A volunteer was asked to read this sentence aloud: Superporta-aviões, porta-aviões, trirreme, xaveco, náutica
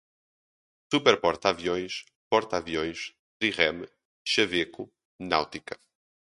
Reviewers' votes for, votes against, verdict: 2, 2, rejected